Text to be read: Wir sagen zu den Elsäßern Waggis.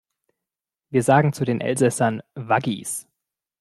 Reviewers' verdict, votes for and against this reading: accepted, 2, 0